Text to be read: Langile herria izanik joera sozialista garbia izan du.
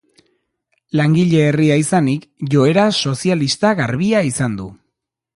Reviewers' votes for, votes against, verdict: 2, 0, accepted